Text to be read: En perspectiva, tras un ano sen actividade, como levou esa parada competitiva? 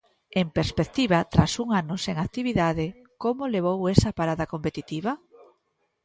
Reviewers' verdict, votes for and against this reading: accepted, 2, 1